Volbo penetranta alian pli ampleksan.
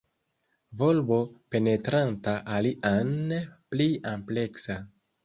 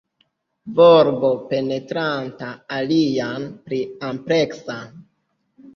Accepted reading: second